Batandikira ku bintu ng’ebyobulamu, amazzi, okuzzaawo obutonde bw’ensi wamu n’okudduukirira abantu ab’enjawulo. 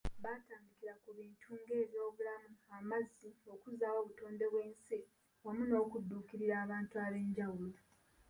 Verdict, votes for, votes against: rejected, 1, 2